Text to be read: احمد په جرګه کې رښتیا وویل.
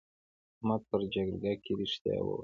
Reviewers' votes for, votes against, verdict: 1, 2, rejected